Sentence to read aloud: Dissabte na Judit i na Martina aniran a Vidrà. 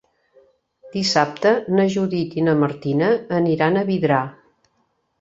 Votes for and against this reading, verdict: 4, 0, accepted